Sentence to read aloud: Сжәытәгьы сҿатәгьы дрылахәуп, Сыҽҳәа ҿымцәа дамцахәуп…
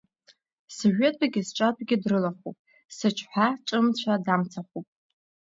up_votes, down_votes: 2, 0